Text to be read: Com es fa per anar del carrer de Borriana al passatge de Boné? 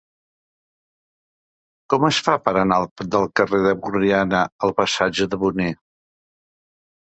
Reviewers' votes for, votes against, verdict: 3, 1, accepted